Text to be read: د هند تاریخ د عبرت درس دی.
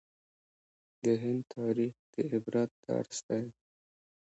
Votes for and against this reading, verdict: 3, 2, accepted